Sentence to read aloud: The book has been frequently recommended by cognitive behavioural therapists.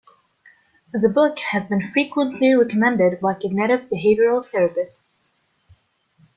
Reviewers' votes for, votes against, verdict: 2, 1, accepted